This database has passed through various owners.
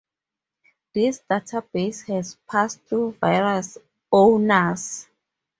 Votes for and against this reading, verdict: 4, 2, accepted